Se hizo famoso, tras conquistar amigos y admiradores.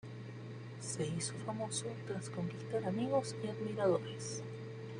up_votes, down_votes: 2, 0